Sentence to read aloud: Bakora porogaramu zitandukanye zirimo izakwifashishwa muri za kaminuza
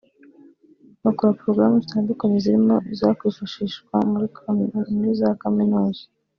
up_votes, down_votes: 1, 2